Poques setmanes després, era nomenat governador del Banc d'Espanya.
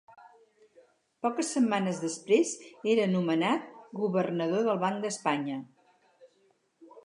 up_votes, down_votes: 2, 2